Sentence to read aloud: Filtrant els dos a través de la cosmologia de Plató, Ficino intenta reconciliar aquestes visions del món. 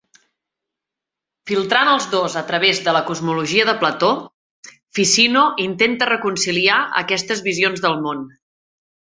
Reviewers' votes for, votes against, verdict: 3, 0, accepted